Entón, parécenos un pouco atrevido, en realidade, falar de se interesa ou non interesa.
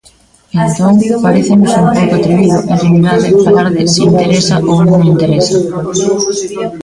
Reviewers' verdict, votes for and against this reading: rejected, 0, 2